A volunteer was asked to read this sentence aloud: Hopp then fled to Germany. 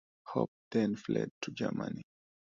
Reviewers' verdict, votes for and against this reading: accepted, 2, 0